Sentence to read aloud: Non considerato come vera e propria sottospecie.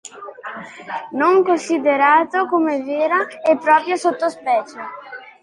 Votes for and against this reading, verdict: 2, 0, accepted